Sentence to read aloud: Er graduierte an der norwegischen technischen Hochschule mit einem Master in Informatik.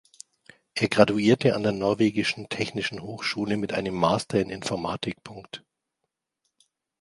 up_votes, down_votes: 1, 2